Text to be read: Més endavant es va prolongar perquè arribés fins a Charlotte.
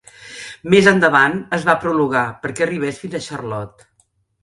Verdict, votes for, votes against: rejected, 0, 2